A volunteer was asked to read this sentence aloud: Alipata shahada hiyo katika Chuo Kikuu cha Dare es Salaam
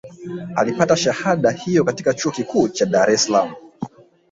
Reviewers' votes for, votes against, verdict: 1, 3, rejected